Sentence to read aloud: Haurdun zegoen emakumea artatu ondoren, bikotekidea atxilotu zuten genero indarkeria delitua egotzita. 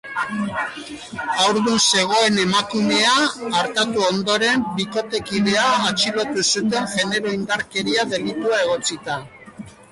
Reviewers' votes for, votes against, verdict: 0, 2, rejected